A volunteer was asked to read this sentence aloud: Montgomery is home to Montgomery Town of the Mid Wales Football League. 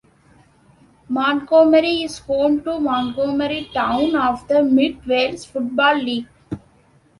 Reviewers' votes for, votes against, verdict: 2, 1, accepted